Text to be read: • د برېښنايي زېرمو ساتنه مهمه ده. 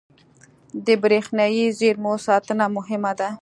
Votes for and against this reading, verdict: 3, 0, accepted